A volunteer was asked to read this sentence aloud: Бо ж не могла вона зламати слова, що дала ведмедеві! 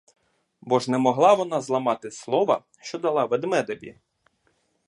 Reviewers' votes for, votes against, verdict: 2, 0, accepted